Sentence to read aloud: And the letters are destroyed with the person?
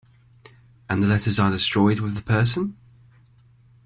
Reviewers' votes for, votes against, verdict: 2, 0, accepted